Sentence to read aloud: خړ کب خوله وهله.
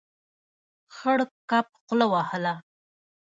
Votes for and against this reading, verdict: 1, 2, rejected